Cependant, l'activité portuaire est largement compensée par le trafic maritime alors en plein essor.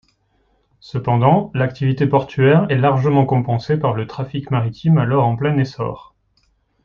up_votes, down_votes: 2, 0